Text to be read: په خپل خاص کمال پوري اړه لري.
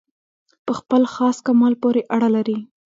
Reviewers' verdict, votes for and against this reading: rejected, 1, 2